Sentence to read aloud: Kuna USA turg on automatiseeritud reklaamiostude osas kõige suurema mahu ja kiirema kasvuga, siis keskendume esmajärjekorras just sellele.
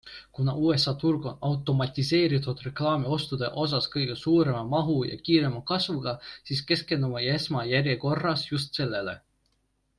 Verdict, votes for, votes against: accepted, 2, 0